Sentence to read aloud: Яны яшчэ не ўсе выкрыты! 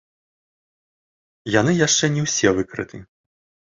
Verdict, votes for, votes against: accepted, 2, 0